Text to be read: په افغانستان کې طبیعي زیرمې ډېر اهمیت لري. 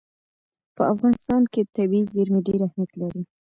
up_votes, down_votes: 0, 2